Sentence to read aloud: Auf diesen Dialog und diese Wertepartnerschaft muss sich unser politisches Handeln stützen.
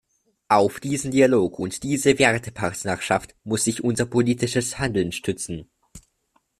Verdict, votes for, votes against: rejected, 1, 2